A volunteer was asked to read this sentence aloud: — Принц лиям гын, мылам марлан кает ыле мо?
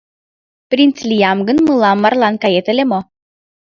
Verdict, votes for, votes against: accepted, 2, 0